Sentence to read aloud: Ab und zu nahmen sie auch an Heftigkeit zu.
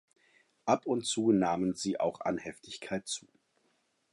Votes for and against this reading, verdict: 2, 0, accepted